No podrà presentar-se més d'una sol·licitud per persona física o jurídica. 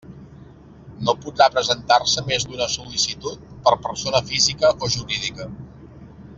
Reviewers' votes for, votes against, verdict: 3, 1, accepted